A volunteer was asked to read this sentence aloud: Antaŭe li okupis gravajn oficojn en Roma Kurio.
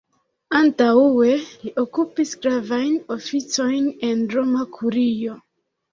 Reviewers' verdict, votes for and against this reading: rejected, 0, 2